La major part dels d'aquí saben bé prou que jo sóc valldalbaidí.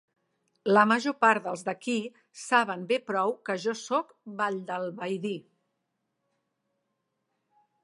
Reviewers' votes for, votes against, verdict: 3, 0, accepted